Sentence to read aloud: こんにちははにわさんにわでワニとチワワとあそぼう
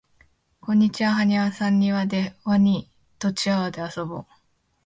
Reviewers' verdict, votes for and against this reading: accepted, 2, 1